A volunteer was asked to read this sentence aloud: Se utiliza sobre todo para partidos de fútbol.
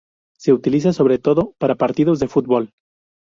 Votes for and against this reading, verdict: 0, 2, rejected